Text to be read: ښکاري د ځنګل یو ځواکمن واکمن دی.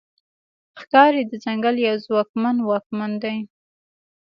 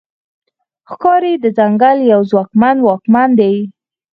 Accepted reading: second